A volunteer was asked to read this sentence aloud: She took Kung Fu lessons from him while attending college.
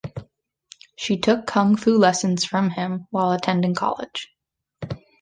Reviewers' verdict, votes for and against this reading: accepted, 2, 0